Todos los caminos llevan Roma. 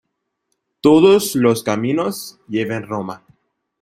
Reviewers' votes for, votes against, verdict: 1, 2, rejected